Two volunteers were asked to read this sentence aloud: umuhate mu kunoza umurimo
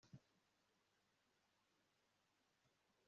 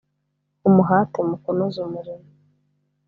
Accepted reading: second